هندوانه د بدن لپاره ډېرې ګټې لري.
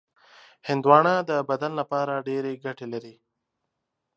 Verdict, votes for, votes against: accepted, 3, 0